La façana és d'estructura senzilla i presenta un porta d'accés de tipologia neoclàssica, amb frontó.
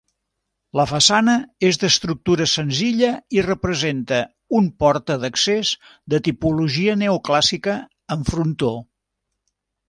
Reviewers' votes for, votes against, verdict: 0, 2, rejected